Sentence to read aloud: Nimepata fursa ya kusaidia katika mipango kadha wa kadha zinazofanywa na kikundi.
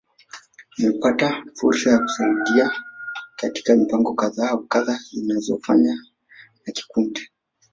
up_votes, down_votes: 2, 3